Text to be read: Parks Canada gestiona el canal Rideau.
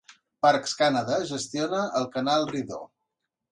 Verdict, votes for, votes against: accepted, 2, 0